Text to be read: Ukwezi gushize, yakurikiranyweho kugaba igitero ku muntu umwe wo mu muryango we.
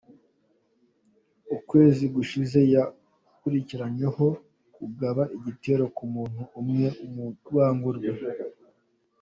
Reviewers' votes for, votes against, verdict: 1, 2, rejected